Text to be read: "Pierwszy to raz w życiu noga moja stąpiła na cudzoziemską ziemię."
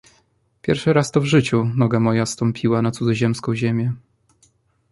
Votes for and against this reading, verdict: 1, 2, rejected